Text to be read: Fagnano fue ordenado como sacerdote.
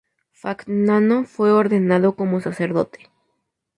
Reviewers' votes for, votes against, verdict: 6, 2, accepted